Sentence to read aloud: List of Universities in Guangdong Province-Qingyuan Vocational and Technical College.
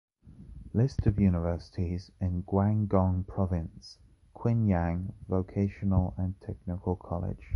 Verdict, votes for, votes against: rejected, 0, 2